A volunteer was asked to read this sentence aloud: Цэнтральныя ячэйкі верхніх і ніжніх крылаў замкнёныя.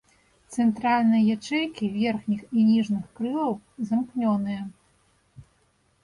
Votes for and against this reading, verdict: 2, 1, accepted